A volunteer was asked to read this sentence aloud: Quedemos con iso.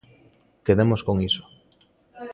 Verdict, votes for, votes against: rejected, 0, 2